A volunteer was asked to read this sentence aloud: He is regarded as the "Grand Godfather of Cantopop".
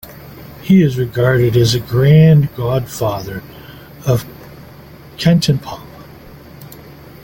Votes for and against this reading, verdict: 1, 2, rejected